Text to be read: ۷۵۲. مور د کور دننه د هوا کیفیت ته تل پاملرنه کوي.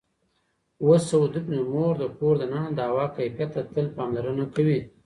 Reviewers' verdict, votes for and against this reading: rejected, 0, 2